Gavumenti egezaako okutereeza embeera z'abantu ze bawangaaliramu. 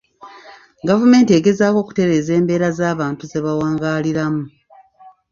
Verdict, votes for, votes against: accepted, 2, 0